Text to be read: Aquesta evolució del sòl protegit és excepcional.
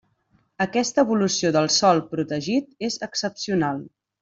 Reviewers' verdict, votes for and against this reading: accepted, 3, 0